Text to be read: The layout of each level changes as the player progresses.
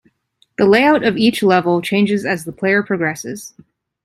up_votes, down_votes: 2, 0